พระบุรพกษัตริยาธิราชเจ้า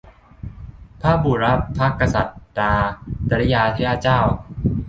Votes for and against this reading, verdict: 0, 2, rejected